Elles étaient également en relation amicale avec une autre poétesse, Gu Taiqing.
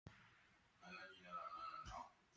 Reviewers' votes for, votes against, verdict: 1, 2, rejected